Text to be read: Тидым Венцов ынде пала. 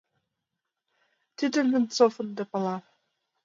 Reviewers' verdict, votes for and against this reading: accepted, 2, 1